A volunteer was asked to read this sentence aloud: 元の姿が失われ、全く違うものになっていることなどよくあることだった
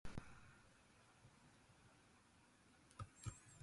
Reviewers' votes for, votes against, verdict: 1, 2, rejected